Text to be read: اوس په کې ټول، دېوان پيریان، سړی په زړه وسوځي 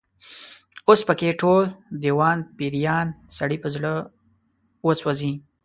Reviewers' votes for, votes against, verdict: 2, 1, accepted